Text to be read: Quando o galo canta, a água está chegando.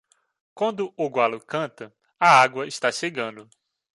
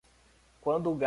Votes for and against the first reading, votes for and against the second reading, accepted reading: 2, 1, 0, 2, first